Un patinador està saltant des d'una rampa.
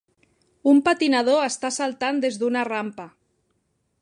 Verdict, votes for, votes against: accepted, 3, 0